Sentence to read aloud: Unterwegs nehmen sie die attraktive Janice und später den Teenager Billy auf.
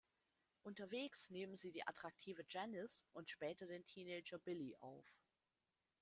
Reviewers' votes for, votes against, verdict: 1, 2, rejected